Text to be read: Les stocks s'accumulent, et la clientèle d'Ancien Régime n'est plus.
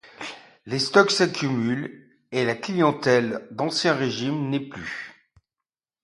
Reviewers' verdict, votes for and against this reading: accepted, 2, 0